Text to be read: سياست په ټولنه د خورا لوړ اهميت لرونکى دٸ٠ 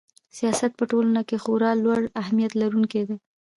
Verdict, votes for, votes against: rejected, 0, 2